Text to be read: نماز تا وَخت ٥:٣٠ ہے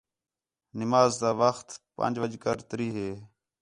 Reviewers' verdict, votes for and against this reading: rejected, 0, 2